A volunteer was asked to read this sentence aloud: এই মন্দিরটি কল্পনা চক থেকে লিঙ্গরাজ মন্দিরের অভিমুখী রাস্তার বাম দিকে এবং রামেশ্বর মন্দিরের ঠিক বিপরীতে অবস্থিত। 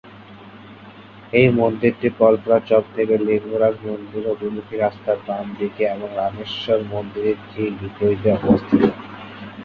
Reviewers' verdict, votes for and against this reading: accepted, 6, 3